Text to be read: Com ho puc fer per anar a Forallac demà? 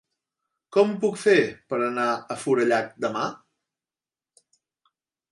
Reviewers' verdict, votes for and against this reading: rejected, 2, 3